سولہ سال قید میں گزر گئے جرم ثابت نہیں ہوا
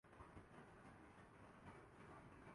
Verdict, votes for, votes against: rejected, 0, 2